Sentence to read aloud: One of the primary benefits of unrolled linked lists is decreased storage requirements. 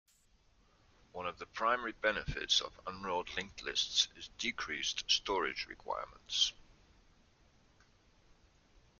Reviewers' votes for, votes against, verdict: 2, 0, accepted